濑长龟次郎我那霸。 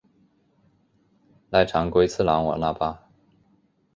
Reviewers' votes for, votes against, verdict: 2, 0, accepted